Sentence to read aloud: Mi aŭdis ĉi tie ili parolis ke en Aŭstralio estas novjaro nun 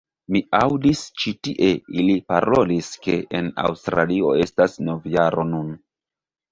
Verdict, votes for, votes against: rejected, 1, 2